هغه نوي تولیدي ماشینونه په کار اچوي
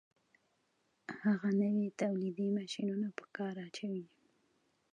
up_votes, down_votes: 2, 1